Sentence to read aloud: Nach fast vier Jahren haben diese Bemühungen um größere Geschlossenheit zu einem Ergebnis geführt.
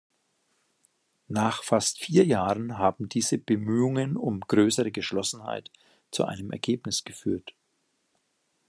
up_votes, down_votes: 2, 0